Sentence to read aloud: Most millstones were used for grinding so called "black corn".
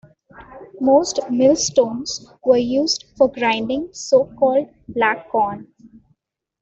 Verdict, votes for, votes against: accepted, 2, 0